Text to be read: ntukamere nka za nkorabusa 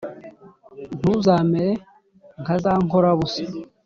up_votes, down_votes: 1, 2